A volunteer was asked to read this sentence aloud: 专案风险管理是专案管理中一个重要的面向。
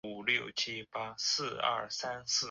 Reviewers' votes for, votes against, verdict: 0, 2, rejected